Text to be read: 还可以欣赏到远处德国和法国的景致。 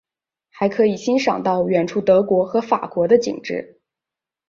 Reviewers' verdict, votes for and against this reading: accepted, 2, 1